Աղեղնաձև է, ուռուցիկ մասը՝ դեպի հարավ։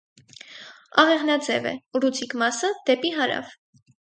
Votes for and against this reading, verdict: 4, 0, accepted